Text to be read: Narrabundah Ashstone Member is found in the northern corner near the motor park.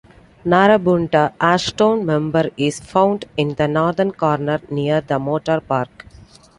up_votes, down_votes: 2, 0